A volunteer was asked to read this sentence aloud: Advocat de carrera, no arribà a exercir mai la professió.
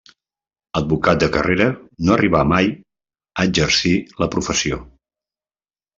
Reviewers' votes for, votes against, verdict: 1, 2, rejected